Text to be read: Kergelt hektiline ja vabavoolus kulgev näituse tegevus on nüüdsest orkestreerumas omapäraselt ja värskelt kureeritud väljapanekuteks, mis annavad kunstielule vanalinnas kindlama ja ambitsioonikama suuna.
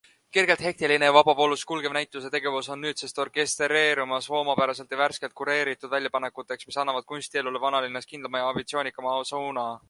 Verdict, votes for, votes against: accepted, 2, 1